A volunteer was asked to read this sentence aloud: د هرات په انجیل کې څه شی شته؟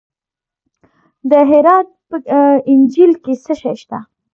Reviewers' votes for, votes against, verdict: 2, 0, accepted